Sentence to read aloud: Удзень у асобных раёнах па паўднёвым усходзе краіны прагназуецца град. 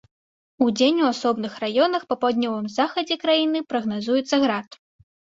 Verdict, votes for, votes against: rejected, 1, 2